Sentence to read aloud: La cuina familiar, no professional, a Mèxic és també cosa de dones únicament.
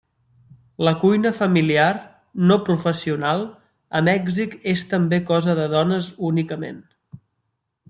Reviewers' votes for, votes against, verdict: 3, 0, accepted